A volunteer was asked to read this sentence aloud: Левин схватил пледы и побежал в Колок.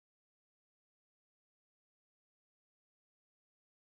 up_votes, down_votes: 0, 14